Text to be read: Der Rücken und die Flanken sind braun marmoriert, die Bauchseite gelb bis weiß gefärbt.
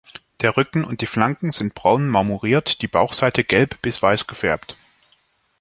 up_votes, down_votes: 2, 0